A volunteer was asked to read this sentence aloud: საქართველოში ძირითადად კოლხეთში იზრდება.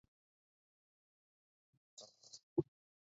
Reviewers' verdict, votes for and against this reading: rejected, 0, 2